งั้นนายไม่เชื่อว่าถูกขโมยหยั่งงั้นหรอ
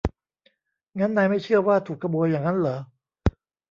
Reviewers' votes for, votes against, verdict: 0, 2, rejected